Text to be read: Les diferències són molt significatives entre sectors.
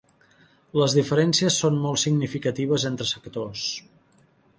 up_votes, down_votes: 3, 0